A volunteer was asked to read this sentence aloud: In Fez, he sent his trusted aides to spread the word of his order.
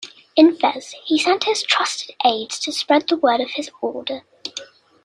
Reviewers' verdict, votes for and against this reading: accepted, 2, 0